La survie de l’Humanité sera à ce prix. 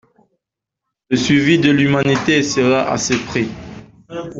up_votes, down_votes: 0, 2